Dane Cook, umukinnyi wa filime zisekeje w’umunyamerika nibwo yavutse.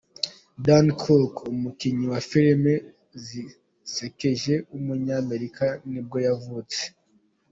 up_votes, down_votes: 3, 0